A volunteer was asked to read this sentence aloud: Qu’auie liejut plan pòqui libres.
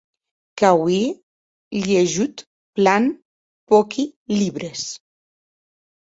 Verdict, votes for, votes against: rejected, 2, 2